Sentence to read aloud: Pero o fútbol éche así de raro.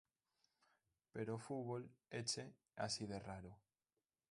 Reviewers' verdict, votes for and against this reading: rejected, 0, 2